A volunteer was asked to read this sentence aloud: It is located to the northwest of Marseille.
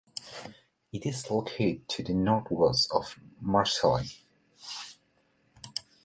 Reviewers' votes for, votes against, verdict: 1, 2, rejected